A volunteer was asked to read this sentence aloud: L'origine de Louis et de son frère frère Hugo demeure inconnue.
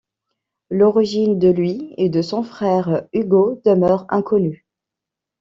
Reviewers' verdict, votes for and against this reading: rejected, 0, 2